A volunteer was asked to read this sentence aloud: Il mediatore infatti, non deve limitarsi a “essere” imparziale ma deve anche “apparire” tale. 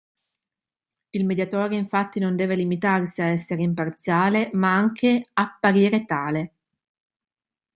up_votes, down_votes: 0, 2